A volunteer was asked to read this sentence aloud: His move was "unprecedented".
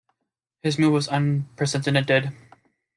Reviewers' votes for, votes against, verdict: 0, 2, rejected